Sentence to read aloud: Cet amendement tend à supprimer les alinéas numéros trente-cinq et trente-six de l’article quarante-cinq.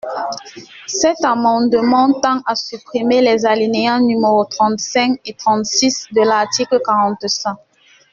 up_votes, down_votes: 1, 2